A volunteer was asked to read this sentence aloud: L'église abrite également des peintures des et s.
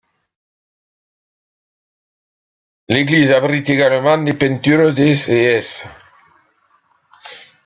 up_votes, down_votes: 1, 2